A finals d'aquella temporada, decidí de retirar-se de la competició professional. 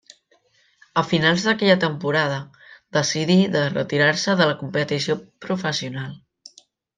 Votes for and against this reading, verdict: 1, 2, rejected